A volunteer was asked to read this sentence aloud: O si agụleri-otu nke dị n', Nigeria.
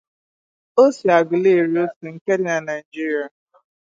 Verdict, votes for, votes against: rejected, 0, 2